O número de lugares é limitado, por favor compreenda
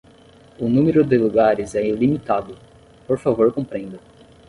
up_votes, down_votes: 5, 10